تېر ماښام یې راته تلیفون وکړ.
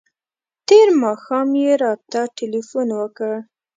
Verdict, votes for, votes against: rejected, 1, 2